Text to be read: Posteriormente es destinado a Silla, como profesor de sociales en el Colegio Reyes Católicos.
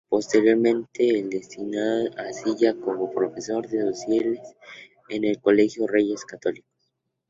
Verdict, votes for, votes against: rejected, 0, 2